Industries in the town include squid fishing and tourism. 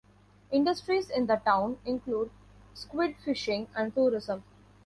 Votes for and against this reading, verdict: 2, 0, accepted